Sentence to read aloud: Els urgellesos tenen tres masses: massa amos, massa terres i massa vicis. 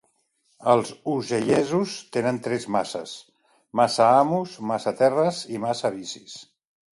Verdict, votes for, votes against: rejected, 1, 2